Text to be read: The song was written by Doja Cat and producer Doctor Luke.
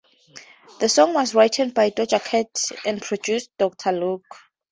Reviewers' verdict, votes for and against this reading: rejected, 0, 2